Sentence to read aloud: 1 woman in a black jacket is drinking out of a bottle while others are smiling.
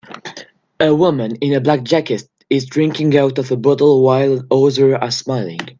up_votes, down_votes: 0, 2